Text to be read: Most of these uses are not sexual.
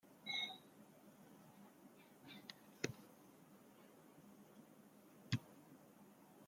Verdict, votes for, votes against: rejected, 0, 2